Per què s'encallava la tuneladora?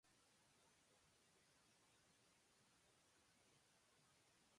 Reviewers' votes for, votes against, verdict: 0, 2, rejected